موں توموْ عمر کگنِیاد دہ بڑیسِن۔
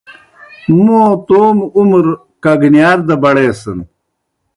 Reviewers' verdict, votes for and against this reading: rejected, 0, 2